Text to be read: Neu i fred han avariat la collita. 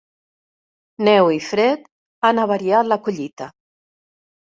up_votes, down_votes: 2, 0